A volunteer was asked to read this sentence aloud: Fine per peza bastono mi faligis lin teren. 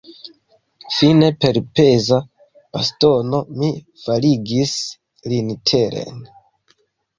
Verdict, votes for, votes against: accepted, 2, 0